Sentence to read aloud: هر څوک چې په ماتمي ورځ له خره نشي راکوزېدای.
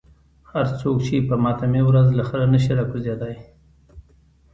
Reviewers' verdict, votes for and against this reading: rejected, 0, 2